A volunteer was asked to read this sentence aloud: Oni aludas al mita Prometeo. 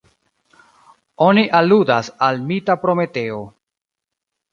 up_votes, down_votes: 3, 0